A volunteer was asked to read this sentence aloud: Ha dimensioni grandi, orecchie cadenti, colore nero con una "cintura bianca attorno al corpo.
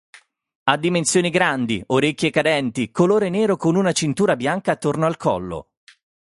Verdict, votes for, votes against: rejected, 0, 6